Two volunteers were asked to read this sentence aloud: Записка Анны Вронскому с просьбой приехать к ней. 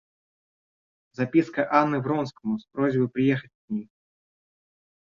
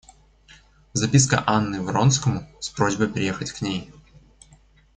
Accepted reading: second